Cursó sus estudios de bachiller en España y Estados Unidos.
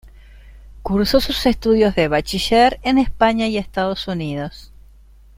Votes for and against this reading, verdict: 2, 0, accepted